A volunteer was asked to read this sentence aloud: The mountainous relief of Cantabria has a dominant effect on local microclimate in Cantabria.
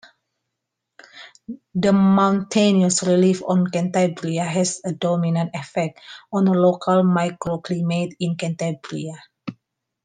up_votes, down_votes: 1, 2